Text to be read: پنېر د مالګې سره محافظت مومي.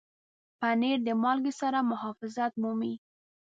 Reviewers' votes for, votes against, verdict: 2, 0, accepted